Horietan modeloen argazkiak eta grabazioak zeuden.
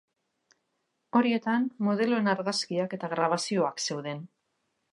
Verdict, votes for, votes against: rejected, 2, 2